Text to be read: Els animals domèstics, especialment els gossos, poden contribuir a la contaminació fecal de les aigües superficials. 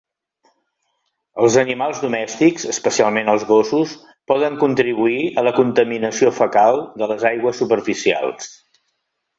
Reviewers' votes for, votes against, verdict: 3, 0, accepted